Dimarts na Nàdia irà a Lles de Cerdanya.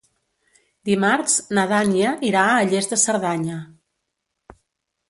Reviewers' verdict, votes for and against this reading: rejected, 0, 2